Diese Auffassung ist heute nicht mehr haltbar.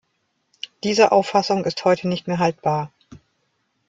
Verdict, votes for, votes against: accepted, 2, 0